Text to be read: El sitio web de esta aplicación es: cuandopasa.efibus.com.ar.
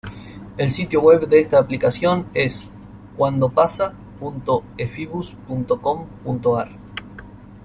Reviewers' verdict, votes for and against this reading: rejected, 1, 2